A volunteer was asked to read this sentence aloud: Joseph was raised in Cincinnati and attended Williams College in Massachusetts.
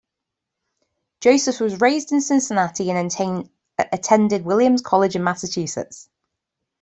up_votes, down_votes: 2, 3